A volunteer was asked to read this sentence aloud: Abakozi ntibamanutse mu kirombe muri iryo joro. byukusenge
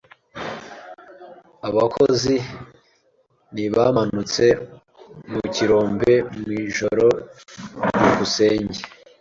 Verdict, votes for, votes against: rejected, 0, 2